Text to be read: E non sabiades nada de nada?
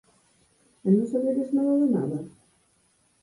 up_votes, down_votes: 4, 0